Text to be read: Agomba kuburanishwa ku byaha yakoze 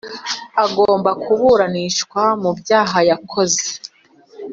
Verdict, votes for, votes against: rejected, 1, 2